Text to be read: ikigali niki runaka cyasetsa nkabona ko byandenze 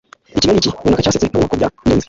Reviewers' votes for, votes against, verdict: 1, 2, rejected